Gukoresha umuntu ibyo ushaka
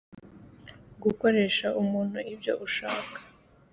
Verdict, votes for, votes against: accepted, 2, 1